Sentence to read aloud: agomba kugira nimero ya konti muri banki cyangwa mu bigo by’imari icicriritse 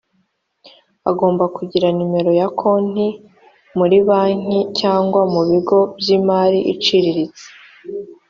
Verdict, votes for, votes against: accepted, 2, 1